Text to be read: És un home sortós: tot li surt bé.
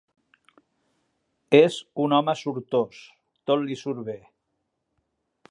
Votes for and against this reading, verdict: 2, 0, accepted